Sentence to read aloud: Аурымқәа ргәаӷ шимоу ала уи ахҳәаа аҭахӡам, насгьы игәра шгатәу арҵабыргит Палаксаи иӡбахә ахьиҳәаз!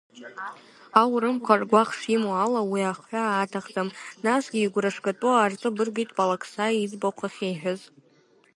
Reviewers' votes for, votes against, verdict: 3, 1, accepted